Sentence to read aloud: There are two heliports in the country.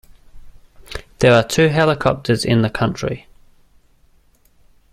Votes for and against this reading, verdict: 0, 2, rejected